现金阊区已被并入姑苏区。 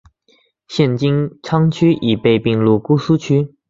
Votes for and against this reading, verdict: 2, 1, accepted